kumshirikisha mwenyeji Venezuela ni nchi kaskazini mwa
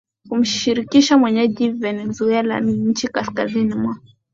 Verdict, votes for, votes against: rejected, 1, 2